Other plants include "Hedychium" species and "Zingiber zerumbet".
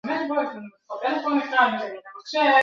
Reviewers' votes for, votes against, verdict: 0, 2, rejected